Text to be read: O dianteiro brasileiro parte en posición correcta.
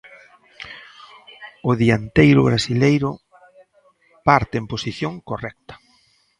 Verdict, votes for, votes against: rejected, 1, 2